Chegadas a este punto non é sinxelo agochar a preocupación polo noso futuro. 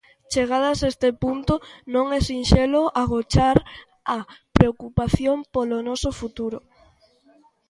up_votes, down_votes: 2, 1